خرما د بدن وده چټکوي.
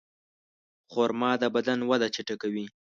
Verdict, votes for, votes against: accepted, 2, 0